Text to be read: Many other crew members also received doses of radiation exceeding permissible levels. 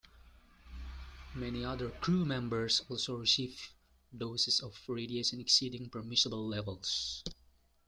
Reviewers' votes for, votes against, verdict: 1, 2, rejected